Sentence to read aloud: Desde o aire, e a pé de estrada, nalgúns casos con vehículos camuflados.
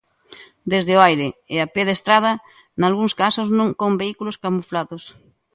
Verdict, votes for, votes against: rejected, 0, 2